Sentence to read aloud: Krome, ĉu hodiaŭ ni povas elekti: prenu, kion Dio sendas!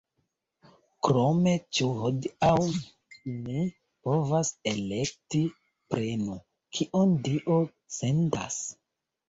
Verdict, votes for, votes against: rejected, 1, 3